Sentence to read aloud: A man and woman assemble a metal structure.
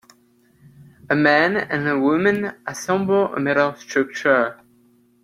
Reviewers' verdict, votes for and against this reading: accepted, 2, 1